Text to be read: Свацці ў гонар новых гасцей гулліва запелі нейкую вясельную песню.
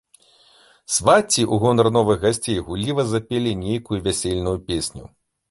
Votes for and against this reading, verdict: 2, 0, accepted